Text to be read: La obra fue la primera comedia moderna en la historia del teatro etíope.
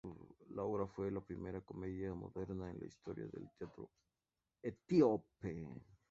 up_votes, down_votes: 2, 2